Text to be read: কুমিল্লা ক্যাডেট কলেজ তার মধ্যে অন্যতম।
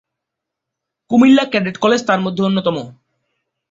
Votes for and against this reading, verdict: 2, 0, accepted